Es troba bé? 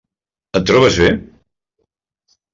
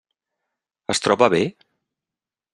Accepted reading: second